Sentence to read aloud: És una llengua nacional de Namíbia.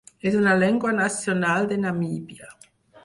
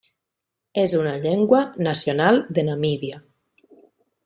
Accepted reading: second